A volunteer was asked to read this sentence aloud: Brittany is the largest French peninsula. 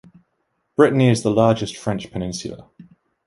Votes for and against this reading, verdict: 1, 2, rejected